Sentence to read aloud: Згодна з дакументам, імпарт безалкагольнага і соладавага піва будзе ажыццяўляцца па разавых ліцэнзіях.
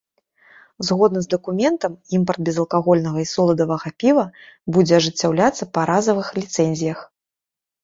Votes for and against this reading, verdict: 2, 0, accepted